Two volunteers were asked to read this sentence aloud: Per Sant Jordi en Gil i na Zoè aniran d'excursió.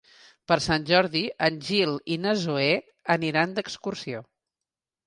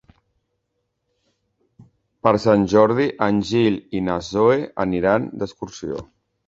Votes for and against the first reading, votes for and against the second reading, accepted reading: 4, 0, 0, 2, first